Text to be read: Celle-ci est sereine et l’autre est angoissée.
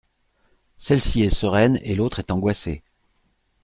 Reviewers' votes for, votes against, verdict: 2, 0, accepted